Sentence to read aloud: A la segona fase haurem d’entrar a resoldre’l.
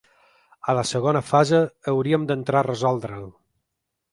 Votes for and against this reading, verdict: 0, 2, rejected